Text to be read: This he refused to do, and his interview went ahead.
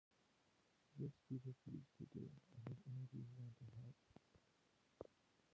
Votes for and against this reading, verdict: 0, 2, rejected